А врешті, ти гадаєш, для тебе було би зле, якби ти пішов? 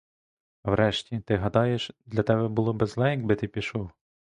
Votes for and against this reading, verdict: 2, 0, accepted